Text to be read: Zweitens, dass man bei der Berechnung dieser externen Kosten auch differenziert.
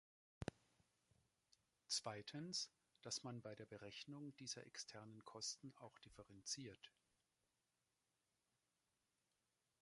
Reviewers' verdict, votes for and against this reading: accepted, 2, 1